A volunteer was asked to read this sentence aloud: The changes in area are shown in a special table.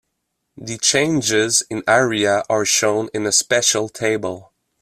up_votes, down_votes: 2, 0